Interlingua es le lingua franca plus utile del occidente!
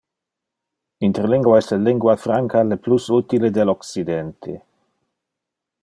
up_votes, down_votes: 1, 2